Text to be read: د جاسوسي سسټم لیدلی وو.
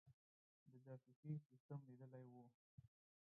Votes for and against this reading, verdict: 0, 4, rejected